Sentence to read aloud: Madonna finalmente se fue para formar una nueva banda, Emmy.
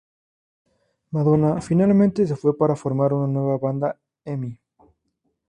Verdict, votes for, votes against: accepted, 4, 0